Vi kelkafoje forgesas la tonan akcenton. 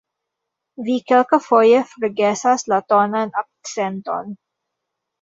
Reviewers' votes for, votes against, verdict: 1, 2, rejected